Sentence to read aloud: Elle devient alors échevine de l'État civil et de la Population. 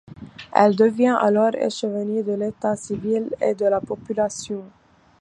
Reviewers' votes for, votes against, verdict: 2, 0, accepted